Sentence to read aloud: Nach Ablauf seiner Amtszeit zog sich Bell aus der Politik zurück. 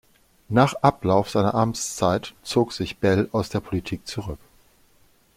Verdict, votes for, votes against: accepted, 2, 0